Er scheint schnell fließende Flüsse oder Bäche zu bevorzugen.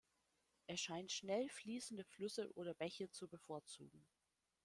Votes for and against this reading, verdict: 1, 2, rejected